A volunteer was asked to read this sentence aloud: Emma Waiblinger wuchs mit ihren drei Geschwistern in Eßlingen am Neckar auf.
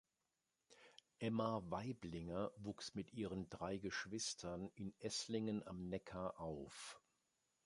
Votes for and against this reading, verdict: 2, 0, accepted